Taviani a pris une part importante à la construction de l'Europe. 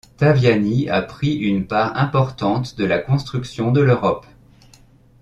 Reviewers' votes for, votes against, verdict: 0, 2, rejected